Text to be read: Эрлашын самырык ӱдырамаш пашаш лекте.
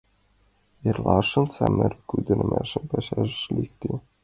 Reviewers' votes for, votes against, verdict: 2, 1, accepted